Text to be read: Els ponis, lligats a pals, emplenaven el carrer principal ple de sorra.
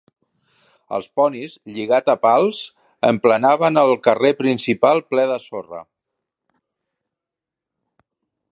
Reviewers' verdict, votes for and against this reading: rejected, 0, 2